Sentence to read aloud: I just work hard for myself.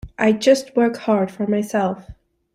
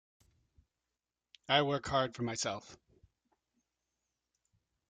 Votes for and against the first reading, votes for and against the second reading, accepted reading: 2, 0, 0, 2, first